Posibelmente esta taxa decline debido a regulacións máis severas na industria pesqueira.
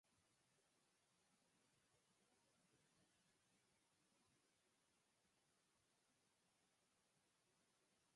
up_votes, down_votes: 0, 4